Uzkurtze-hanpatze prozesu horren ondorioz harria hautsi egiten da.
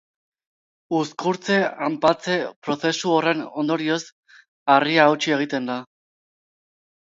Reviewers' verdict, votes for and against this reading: accepted, 2, 0